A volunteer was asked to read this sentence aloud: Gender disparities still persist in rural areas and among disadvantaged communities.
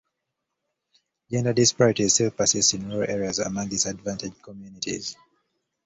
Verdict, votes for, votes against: rejected, 0, 2